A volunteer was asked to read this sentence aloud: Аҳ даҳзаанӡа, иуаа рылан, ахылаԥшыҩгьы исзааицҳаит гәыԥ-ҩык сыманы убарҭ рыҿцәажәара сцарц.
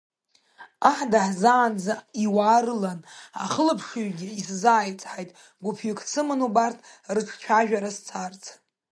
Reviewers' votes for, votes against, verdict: 2, 0, accepted